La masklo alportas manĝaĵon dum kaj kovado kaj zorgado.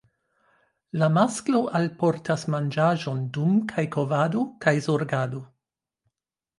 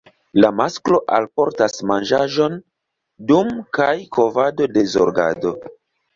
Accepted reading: first